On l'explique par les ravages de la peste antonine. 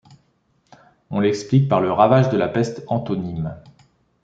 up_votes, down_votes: 2, 0